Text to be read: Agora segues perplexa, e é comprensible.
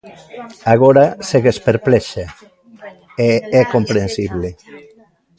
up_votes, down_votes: 2, 1